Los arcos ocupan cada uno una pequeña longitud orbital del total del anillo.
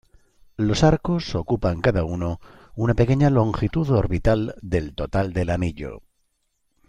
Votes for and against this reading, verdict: 1, 2, rejected